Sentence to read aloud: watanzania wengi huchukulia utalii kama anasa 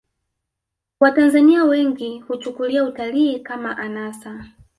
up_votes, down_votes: 1, 2